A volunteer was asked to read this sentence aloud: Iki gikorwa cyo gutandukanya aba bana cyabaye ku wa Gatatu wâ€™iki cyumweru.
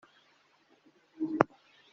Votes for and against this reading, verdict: 0, 2, rejected